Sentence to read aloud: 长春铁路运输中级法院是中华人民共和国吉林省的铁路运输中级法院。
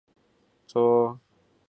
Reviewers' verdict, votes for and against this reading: rejected, 1, 2